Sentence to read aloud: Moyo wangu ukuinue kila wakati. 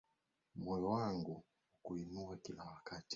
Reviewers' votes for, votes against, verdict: 9, 3, accepted